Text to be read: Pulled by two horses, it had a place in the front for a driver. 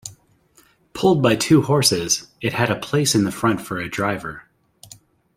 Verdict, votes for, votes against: accepted, 2, 0